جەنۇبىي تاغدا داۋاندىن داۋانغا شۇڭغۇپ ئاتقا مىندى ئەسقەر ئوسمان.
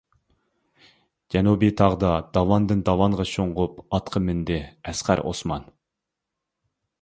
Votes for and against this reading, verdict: 3, 0, accepted